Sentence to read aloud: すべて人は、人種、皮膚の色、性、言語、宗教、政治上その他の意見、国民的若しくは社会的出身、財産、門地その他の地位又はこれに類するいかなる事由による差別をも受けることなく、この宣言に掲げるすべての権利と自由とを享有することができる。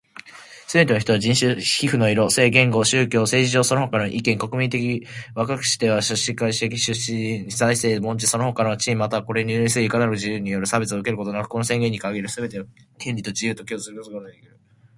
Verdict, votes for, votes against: rejected, 0, 2